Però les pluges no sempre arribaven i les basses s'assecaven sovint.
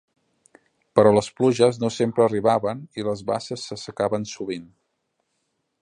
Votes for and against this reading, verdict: 2, 0, accepted